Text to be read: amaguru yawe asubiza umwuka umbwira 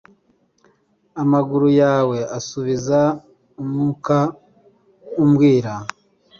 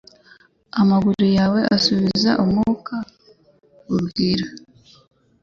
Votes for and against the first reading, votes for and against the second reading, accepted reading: 2, 0, 1, 2, first